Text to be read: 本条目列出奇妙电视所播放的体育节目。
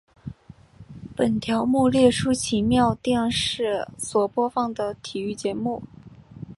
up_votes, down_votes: 4, 0